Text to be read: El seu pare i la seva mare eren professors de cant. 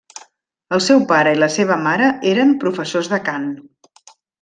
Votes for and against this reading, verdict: 3, 0, accepted